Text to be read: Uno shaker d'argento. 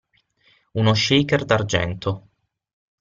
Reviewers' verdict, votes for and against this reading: accepted, 6, 0